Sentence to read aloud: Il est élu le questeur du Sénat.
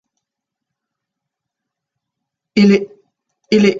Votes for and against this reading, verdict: 0, 2, rejected